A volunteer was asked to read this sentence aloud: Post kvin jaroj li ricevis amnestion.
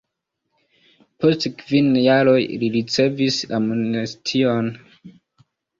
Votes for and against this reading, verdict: 2, 1, accepted